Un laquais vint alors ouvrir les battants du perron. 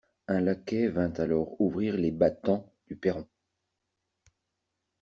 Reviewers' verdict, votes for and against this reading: accepted, 2, 0